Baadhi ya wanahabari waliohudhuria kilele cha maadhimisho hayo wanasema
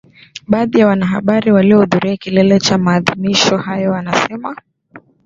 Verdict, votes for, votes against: accepted, 2, 0